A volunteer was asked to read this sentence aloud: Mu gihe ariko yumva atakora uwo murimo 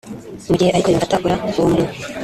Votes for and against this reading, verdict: 2, 0, accepted